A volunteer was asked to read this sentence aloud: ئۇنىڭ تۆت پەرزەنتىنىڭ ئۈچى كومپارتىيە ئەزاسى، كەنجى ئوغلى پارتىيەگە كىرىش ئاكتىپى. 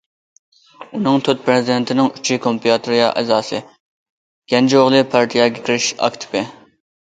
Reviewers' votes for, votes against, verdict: 1, 2, rejected